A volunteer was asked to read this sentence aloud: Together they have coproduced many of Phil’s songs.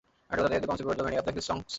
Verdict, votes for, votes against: rejected, 0, 2